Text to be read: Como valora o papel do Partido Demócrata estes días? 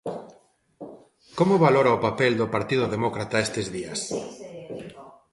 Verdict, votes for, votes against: rejected, 1, 2